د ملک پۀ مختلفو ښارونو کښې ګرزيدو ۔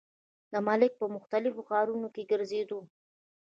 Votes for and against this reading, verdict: 1, 2, rejected